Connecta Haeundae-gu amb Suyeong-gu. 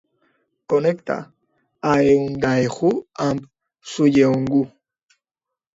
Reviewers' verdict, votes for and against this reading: rejected, 1, 2